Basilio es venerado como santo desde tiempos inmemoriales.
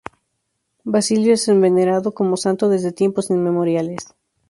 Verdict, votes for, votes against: rejected, 0, 2